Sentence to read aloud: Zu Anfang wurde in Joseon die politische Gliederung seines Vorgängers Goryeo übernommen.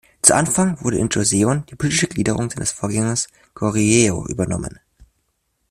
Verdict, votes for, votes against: rejected, 1, 2